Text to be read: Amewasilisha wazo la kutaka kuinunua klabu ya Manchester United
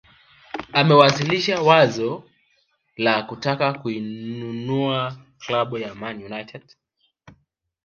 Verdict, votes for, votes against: accepted, 5, 1